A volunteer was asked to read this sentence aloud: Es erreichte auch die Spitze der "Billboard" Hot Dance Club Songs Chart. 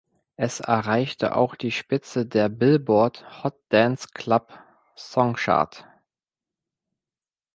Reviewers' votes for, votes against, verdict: 1, 2, rejected